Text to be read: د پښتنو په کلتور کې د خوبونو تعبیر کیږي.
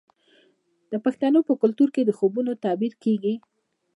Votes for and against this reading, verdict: 1, 2, rejected